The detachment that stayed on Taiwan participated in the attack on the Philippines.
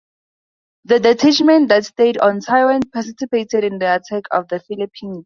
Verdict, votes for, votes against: accepted, 2, 0